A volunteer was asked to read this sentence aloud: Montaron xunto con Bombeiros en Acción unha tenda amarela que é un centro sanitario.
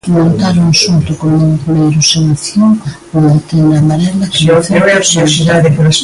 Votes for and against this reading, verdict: 0, 2, rejected